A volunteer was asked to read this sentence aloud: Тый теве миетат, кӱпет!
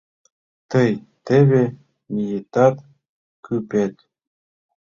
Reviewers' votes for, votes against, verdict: 2, 0, accepted